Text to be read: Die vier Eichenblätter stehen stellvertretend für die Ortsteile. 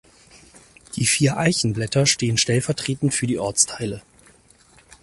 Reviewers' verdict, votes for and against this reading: accepted, 4, 0